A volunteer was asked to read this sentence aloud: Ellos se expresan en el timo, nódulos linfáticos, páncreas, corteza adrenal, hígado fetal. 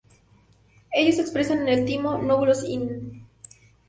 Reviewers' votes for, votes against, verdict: 0, 4, rejected